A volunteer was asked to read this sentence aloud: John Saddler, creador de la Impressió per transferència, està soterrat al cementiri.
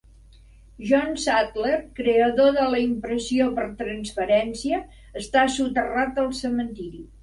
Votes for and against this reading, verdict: 2, 0, accepted